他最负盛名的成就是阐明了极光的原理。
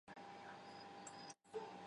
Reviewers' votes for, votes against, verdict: 0, 8, rejected